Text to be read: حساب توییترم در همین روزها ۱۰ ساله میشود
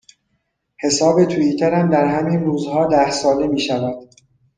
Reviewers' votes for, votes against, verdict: 0, 2, rejected